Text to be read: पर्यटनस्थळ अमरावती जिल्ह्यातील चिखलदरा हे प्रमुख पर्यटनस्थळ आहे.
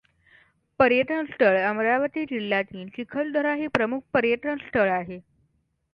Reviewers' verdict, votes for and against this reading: accepted, 2, 0